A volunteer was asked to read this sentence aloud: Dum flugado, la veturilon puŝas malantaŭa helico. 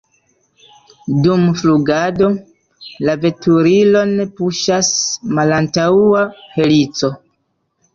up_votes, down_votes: 0, 2